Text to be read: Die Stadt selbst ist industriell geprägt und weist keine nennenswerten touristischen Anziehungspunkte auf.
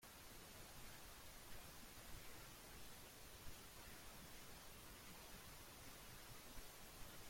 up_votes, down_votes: 0, 2